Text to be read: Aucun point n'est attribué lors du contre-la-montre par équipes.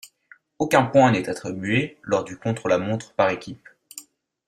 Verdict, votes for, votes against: accepted, 2, 0